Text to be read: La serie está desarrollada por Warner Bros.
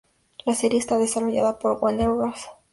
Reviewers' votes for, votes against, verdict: 2, 0, accepted